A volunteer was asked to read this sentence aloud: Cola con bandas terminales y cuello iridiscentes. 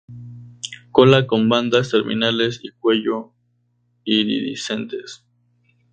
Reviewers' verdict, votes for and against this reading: rejected, 0, 2